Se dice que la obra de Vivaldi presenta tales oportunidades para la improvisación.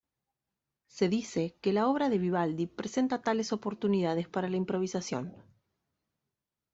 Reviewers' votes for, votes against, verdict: 2, 0, accepted